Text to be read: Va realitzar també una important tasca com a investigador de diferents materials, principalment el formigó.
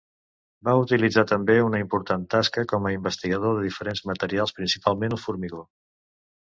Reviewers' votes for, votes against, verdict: 0, 2, rejected